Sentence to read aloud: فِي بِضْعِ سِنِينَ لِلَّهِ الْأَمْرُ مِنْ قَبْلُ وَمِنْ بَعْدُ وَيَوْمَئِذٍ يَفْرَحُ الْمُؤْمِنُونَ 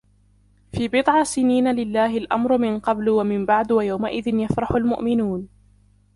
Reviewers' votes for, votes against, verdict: 1, 2, rejected